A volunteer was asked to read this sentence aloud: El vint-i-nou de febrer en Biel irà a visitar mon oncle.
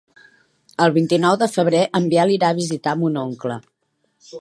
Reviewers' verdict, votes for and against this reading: accepted, 4, 0